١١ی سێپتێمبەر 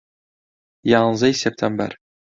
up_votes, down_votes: 0, 2